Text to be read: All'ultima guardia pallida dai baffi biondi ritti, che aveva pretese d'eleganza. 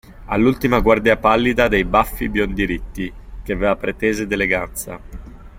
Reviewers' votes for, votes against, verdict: 3, 1, accepted